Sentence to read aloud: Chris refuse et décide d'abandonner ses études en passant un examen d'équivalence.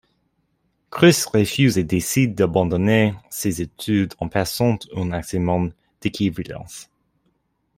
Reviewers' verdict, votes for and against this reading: rejected, 0, 2